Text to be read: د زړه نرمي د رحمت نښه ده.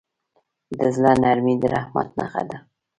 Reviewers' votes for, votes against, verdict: 2, 0, accepted